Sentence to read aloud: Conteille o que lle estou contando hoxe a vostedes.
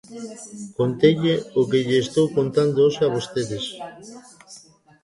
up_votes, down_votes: 2, 1